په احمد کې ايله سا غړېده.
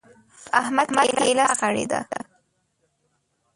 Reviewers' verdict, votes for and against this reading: rejected, 0, 2